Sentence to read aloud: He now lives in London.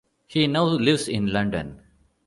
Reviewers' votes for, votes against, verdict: 2, 0, accepted